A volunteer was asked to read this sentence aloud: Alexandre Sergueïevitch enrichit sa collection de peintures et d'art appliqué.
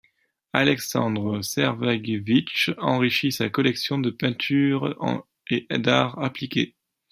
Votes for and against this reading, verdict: 1, 2, rejected